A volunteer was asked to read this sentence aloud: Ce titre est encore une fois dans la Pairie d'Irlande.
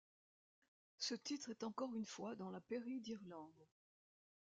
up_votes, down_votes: 2, 0